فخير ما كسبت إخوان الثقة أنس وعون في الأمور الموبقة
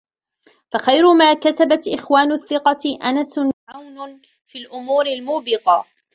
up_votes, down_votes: 2, 0